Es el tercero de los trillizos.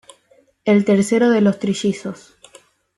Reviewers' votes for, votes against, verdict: 1, 2, rejected